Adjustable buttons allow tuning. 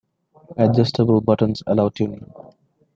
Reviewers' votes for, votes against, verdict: 2, 0, accepted